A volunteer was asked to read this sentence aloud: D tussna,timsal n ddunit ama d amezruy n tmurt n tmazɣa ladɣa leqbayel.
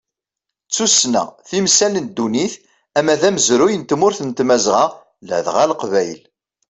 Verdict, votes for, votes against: accepted, 2, 0